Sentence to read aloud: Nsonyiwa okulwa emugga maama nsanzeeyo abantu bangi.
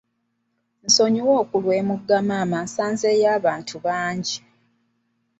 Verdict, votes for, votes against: accepted, 2, 0